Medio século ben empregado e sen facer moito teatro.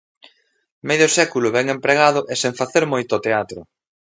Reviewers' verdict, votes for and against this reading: accepted, 2, 0